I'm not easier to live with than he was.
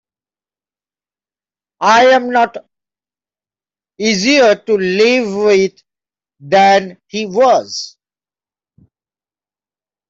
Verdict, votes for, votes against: rejected, 1, 2